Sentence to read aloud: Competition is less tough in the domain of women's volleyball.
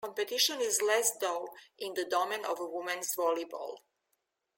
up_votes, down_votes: 0, 2